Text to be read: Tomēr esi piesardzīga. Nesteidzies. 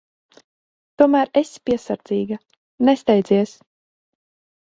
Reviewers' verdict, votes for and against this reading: accepted, 4, 0